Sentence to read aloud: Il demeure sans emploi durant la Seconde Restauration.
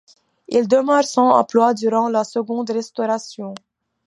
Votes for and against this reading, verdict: 2, 1, accepted